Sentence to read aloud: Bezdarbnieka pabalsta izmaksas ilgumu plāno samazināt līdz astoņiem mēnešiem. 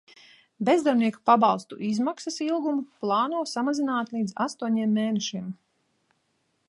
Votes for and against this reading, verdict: 0, 2, rejected